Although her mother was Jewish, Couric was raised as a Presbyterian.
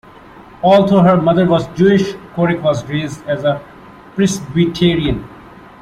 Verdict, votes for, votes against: accepted, 2, 0